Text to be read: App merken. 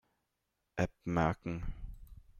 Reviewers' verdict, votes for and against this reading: accepted, 2, 0